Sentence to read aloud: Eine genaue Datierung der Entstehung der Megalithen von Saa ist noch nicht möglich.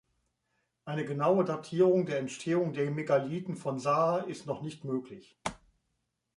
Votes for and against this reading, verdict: 2, 0, accepted